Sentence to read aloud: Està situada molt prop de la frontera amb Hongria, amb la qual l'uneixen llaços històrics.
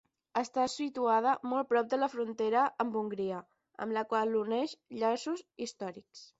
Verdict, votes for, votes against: accepted, 10, 0